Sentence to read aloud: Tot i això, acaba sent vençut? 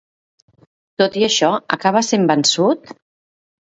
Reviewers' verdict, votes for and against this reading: accepted, 2, 0